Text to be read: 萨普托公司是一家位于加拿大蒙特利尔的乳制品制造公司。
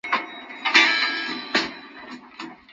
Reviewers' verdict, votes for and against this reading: rejected, 0, 6